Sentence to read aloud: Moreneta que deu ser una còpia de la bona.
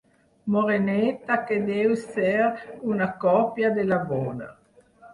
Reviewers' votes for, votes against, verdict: 8, 2, accepted